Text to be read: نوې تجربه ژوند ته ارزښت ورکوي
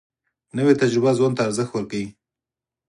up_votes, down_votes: 2, 4